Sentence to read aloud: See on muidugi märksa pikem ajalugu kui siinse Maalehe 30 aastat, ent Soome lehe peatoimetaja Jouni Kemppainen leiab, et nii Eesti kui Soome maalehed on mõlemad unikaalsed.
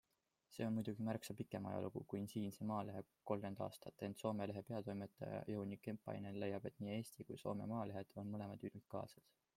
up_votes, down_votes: 0, 2